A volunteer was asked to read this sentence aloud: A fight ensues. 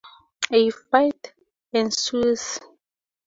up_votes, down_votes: 2, 0